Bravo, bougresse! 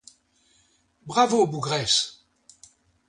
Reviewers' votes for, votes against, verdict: 2, 0, accepted